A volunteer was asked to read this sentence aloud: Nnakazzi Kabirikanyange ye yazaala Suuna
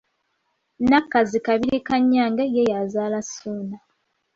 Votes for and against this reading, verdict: 2, 0, accepted